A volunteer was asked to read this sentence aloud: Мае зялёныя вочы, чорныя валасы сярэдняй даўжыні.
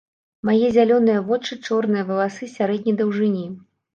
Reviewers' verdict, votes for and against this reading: rejected, 1, 2